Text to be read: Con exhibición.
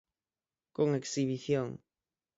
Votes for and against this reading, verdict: 9, 0, accepted